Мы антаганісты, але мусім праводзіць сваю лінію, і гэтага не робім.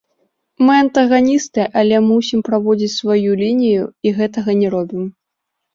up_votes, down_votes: 2, 0